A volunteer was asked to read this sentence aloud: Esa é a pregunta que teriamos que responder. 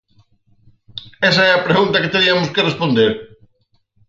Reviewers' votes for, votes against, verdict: 2, 4, rejected